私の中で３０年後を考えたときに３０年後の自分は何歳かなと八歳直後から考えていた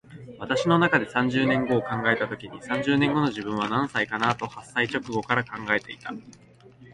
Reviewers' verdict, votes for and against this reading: rejected, 0, 2